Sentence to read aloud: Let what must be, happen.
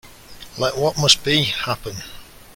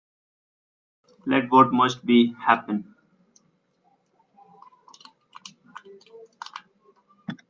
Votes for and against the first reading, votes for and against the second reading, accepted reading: 2, 0, 1, 2, first